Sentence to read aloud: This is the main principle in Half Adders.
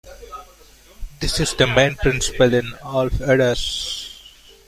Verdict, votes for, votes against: rejected, 1, 2